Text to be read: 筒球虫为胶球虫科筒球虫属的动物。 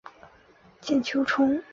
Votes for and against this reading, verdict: 0, 2, rejected